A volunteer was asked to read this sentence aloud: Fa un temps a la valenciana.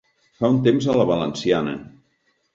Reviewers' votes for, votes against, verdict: 3, 0, accepted